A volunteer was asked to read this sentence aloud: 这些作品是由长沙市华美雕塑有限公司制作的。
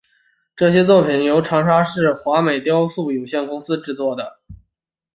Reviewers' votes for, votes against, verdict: 2, 0, accepted